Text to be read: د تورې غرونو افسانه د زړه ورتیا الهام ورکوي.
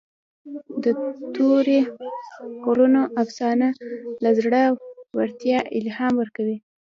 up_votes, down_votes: 2, 0